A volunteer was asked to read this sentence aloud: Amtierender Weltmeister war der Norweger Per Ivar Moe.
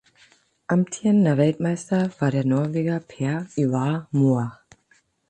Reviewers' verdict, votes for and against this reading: accepted, 12, 0